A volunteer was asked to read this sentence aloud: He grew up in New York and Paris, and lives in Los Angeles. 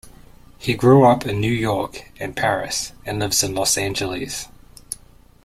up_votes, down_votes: 2, 1